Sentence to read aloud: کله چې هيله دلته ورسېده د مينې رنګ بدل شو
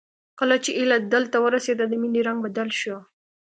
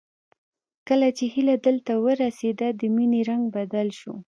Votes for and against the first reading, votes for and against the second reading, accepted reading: 2, 0, 1, 2, first